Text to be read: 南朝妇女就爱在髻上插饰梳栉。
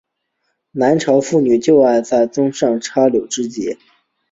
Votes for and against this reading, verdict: 2, 1, accepted